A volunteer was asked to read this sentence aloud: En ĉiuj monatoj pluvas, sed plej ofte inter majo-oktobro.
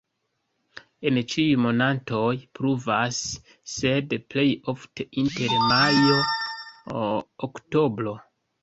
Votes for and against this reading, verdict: 1, 2, rejected